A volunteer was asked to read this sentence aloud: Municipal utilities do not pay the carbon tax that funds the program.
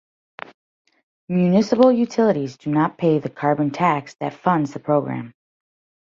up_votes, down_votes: 2, 0